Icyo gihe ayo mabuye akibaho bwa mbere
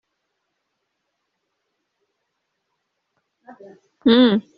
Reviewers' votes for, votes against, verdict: 0, 2, rejected